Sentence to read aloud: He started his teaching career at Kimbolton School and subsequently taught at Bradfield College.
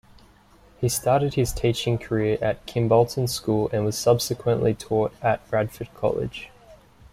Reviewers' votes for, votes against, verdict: 1, 2, rejected